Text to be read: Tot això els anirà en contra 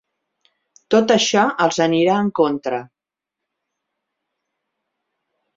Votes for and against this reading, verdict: 4, 0, accepted